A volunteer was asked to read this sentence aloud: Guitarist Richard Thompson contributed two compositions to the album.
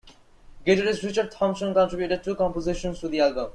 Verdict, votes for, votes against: rejected, 1, 2